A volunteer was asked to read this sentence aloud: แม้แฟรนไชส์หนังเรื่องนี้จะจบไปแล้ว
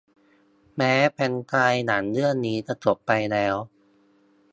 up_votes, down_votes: 2, 0